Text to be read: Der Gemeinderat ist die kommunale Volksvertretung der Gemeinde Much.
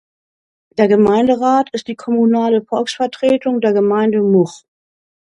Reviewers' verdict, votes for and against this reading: rejected, 0, 2